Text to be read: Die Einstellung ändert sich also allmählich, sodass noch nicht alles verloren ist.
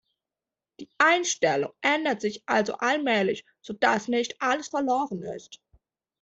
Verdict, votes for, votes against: accepted, 2, 1